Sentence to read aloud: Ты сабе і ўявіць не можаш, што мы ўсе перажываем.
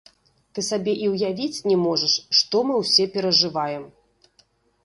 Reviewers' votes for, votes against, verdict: 2, 1, accepted